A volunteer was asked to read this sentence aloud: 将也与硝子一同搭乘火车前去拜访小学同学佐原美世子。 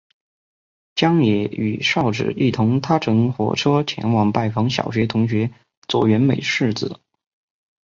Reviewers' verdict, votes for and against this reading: accepted, 2, 1